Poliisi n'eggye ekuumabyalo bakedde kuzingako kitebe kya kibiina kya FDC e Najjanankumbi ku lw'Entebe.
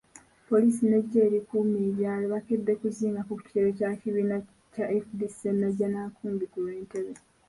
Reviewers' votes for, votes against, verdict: 2, 1, accepted